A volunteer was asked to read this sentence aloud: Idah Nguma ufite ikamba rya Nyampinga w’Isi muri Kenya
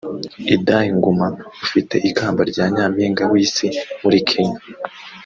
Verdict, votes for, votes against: accepted, 2, 0